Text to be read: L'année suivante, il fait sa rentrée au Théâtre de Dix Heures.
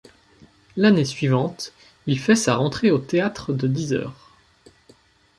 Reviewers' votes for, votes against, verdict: 2, 0, accepted